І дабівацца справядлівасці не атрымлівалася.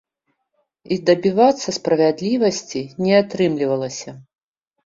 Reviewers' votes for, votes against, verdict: 2, 0, accepted